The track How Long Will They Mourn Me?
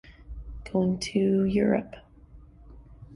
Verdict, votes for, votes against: rejected, 1, 2